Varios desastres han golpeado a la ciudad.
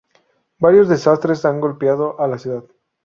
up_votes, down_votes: 2, 0